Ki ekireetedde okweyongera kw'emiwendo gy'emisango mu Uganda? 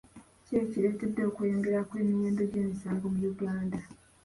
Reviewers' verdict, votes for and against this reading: accepted, 2, 0